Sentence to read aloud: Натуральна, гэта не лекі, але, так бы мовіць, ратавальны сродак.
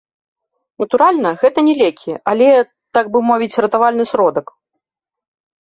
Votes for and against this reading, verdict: 2, 0, accepted